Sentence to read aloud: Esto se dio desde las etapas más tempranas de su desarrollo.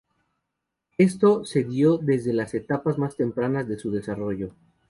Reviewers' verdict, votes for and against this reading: accepted, 4, 0